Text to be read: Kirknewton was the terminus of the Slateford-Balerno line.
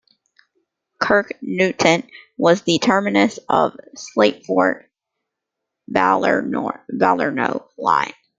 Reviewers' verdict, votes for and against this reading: rejected, 1, 2